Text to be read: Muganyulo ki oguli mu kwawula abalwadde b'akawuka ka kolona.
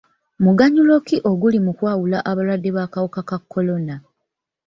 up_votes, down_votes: 0, 2